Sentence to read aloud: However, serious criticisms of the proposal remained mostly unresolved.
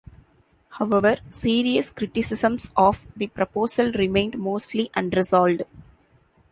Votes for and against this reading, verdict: 0, 2, rejected